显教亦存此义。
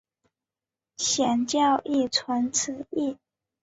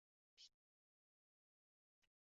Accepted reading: first